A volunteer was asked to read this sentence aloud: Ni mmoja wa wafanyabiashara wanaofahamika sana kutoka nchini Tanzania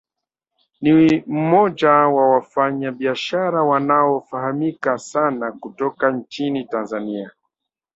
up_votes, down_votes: 1, 2